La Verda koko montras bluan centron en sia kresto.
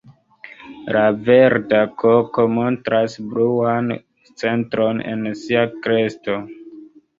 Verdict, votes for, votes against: accepted, 2, 0